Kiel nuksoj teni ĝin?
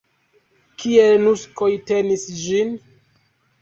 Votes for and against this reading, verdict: 0, 2, rejected